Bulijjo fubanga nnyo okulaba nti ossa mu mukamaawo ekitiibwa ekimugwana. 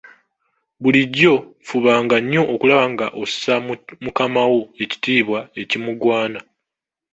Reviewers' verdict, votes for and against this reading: rejected, 0, 2